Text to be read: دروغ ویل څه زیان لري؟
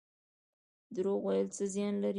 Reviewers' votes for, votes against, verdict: 1, 2, rejected